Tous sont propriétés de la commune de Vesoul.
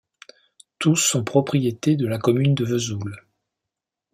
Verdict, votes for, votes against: accepted, 2, 0